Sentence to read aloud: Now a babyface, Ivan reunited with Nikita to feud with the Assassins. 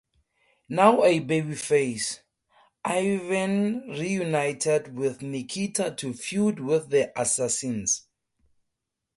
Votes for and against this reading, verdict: 2, 0, accepted